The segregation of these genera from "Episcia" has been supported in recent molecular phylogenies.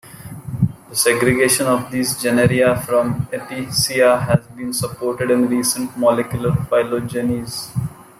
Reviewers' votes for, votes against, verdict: 1, 2, rejected